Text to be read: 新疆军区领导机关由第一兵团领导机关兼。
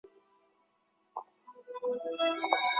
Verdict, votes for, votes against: rejected, 0, 2